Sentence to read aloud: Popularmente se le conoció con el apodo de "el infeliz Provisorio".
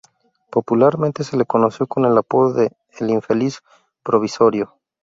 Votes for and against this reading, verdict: 2, 0, accepted